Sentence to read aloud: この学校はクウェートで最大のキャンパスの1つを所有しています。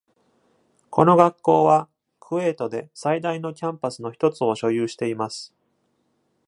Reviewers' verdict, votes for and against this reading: rejected, 0, 2